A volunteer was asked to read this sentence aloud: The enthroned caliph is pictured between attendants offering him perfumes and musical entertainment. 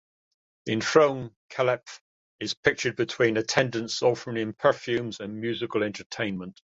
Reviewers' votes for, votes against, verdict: 2, 0, accepted